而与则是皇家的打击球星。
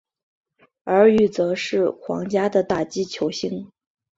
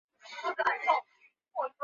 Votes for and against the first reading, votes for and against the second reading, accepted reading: 4, 0, 1, 2, first